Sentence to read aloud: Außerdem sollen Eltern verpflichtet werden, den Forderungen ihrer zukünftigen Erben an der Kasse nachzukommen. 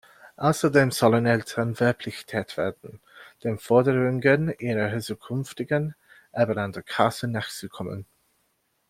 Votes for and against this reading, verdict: 1, 2, rejected